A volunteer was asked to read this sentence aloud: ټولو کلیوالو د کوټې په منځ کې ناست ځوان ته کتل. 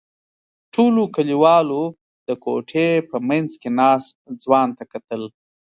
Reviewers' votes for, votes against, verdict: 2, 0, accepted